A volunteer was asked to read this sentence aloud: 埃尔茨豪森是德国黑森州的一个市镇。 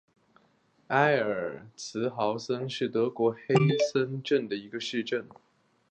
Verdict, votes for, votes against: rejected, 1, 2